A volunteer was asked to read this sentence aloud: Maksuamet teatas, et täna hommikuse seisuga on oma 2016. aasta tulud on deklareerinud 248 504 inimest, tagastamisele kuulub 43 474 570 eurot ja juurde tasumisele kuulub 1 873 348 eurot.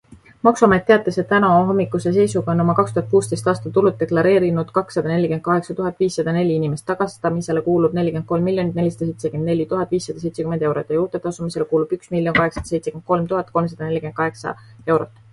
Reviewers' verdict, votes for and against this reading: rejected, 0, 2